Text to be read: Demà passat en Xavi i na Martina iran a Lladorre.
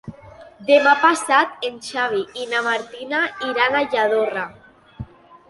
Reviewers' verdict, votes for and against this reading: accepted, 2, 0